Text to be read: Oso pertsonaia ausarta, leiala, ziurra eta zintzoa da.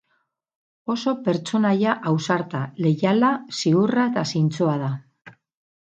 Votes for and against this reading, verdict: 2, 2, rejected